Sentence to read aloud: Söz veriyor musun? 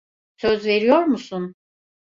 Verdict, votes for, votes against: accepted, 2, 0